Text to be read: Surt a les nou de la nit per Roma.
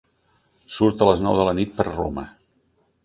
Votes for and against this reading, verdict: 4, 0, accepted